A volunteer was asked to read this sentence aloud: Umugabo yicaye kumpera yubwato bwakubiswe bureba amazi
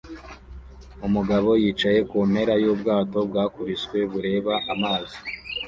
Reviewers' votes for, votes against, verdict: 2, 0, accepted